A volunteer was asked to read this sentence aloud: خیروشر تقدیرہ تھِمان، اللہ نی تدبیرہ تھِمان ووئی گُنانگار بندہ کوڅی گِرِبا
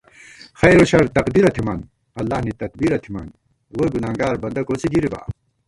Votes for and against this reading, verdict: 1, 2, rejected